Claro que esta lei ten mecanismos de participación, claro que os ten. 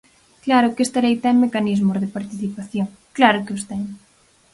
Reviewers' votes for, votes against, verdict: 4, 0, accepted